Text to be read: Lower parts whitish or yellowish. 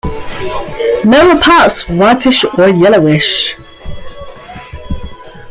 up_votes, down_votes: 2, 1